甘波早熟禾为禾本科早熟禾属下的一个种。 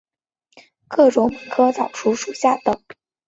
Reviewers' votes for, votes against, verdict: 0, 2, rejected